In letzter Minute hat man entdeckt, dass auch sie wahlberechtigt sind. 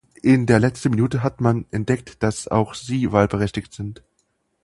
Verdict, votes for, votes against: rejected, 0, 4